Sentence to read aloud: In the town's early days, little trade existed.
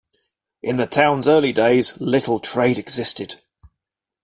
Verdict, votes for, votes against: accepted, 2, 0